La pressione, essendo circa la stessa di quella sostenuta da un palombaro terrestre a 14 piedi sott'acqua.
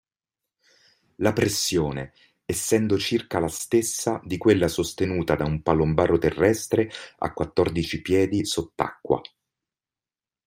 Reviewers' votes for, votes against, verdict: 0, 2, rejected